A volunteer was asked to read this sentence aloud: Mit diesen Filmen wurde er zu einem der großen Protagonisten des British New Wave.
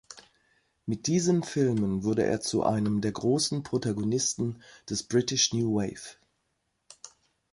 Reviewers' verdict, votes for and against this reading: accepted, 2, 0